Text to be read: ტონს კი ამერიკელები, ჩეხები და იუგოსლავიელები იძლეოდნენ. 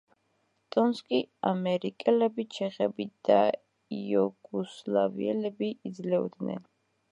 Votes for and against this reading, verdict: 1, 2, rejected